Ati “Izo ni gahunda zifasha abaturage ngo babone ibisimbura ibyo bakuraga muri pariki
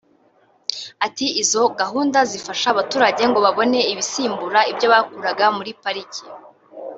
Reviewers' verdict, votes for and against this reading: rejected, 0, 2